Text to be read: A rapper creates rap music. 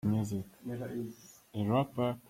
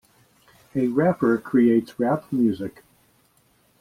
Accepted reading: second